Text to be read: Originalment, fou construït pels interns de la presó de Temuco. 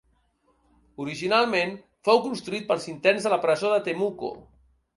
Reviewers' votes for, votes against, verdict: 2, 0, accepted